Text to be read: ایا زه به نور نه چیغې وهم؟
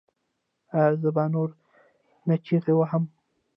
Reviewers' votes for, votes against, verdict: 0, 2, rejected